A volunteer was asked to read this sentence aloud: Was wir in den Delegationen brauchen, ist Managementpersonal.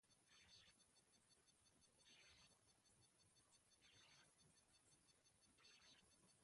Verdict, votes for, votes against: rejected, 0, 2